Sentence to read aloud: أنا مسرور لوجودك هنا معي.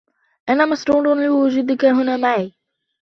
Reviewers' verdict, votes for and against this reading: rejected, 0, 2